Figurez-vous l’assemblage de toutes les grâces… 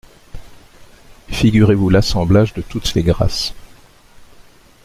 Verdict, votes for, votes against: rejected, 0, 2